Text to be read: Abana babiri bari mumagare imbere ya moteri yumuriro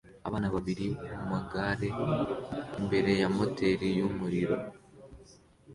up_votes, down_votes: 2, 1